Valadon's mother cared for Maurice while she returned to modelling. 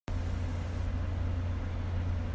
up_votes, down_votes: 0, 2